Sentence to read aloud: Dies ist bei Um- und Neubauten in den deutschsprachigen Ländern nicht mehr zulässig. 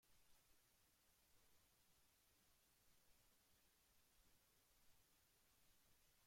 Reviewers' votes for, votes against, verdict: 0, 2, rejected